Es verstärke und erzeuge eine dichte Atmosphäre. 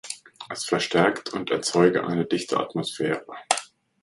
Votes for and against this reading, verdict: 1, 2, rejected